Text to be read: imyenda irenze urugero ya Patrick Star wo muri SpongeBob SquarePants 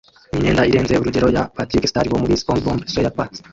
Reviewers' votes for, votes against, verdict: 0, 2, rejected